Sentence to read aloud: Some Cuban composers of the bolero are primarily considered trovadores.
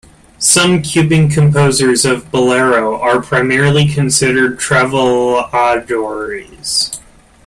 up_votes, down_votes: 0, 2